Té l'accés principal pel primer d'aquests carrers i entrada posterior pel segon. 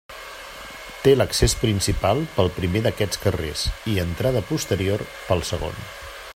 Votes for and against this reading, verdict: 3, 0, accepted